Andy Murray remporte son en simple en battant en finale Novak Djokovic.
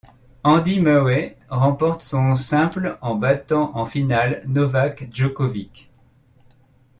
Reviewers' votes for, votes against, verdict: 1, 2, rejected